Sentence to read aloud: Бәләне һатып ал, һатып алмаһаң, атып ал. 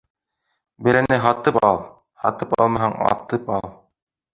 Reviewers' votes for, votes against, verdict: 0, 2, rejected